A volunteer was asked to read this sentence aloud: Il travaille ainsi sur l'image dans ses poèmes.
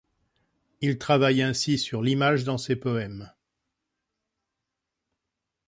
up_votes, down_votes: 2, 0